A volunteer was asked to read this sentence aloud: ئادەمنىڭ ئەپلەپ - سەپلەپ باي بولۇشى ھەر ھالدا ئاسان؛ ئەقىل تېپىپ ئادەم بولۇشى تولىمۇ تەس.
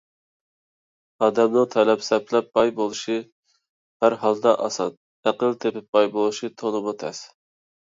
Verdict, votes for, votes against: rejected, 1, 2